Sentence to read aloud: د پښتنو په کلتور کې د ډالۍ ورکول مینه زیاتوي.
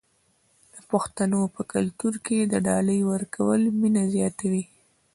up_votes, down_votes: 2, 0